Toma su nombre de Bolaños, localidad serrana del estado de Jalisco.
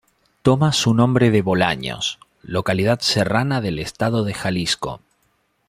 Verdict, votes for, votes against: accepted, 2, 0